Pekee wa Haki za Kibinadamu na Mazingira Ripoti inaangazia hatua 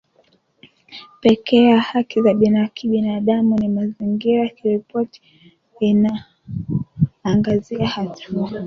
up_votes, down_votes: 1, 3